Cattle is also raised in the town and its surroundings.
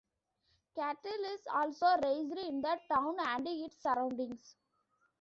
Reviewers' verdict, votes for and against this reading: rejected, 1, 2